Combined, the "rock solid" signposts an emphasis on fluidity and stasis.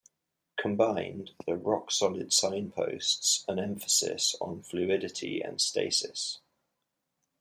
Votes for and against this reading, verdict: 2, 0, accepted